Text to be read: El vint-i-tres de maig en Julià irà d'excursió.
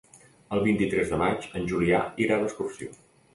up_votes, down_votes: 2, 0